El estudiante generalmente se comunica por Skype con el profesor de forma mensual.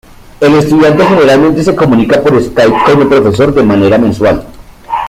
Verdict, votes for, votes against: rejected, 1, 2